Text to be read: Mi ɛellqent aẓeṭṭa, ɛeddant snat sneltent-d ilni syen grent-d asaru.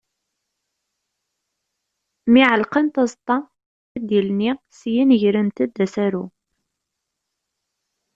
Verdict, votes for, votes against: rejected, 0, 2